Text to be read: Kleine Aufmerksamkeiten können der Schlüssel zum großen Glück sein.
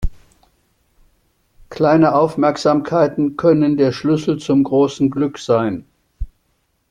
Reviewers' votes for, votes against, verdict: 2, 0, accepted